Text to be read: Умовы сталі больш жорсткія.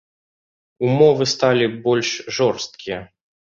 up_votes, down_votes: 2, 0